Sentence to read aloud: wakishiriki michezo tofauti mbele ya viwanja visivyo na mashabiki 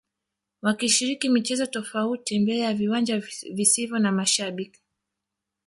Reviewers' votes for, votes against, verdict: 0, 2, rejected